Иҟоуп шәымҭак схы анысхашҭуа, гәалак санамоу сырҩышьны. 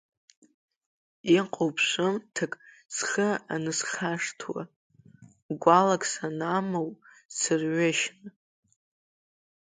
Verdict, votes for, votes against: rejected, 1, 2